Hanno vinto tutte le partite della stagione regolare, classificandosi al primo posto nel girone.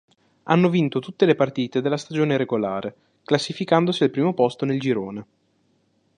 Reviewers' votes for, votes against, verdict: 2, 0, accepted